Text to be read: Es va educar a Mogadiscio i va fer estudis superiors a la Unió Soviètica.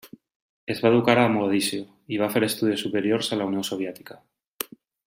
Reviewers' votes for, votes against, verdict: 2, 0, accepted